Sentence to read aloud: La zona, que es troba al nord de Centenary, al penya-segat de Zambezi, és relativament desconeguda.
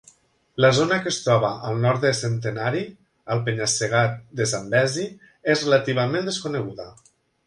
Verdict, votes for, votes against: accepted, 2, 0